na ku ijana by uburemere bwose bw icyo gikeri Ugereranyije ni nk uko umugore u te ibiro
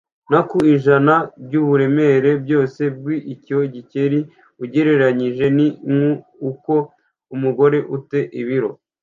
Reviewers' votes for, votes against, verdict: 1, 2, rejected